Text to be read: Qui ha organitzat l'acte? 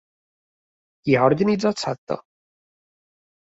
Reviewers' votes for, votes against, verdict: 0, 2, rejected